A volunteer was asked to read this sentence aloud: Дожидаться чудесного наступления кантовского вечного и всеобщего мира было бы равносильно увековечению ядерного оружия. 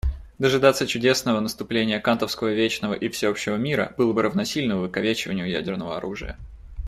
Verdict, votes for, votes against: accepted, 2, 0